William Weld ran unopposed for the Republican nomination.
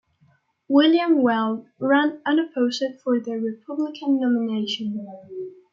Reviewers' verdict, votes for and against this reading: rejected, 0, 2